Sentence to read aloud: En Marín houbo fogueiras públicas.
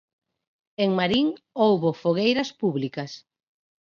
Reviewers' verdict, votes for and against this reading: accepted, 6, 0